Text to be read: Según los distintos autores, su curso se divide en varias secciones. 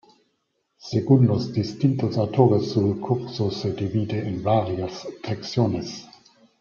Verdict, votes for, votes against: rejected, 0, 2